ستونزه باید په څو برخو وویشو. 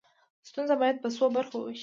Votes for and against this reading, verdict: 2, 0, accepted